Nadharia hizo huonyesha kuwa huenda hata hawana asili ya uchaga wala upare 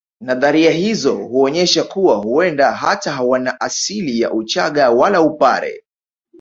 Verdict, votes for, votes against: rejected, 1, 2